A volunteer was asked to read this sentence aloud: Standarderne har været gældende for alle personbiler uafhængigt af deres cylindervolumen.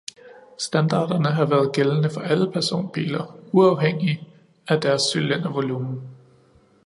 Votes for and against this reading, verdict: 2, 0, accepted